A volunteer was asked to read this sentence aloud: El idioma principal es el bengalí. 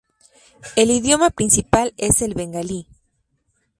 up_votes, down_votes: 4, 0